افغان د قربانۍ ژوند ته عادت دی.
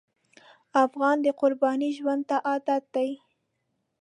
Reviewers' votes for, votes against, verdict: 2, 0, accepted